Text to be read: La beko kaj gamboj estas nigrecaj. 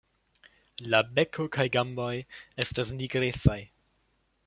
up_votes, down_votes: 2, 1